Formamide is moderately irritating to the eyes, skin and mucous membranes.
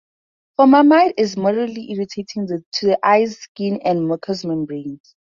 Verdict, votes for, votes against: accepted, 4, 2